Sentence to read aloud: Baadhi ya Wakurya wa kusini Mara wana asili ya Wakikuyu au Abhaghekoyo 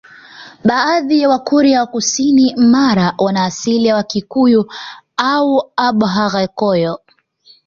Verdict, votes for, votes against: accepted, 2, 0